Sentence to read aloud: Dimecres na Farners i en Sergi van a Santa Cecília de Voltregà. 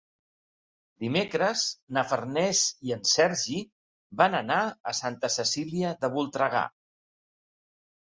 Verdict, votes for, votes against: rejected, 1, 2